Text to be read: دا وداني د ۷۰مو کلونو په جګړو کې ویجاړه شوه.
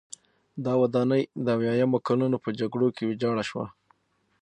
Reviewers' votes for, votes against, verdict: 0, 2, rejected